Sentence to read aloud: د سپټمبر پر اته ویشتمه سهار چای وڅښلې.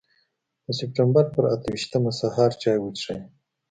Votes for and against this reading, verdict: 0, 2, rejected